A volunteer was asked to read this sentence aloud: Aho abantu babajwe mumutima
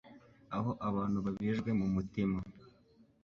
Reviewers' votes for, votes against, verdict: 2, 1, accepted